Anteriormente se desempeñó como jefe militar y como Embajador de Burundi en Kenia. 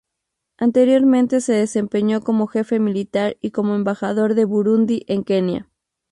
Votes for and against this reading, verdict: 4, 0, accepted